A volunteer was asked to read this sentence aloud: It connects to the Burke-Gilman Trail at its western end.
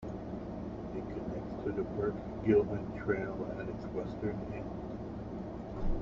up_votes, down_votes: 0, 2